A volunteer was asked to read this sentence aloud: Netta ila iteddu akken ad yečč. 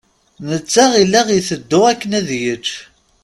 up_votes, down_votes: 2, 0